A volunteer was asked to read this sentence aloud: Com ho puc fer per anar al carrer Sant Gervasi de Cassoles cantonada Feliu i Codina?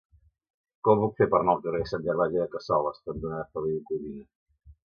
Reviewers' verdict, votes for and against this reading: accepted, 2, 1